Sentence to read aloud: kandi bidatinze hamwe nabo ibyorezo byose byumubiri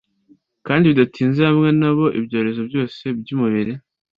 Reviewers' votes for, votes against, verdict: 2, 0, accepted